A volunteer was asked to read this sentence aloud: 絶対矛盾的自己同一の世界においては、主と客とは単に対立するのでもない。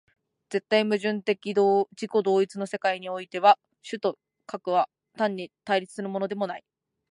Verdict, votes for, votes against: accepted, 3, 2